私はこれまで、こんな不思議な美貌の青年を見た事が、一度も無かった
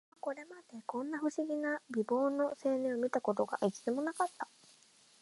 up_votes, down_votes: 0, 2